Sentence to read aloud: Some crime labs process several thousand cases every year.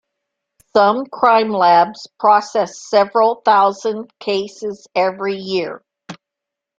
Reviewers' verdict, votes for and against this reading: accepted, 2, 0